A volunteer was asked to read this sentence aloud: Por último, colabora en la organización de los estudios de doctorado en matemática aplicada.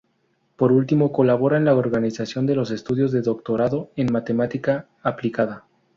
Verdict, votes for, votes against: accepted, 2, 0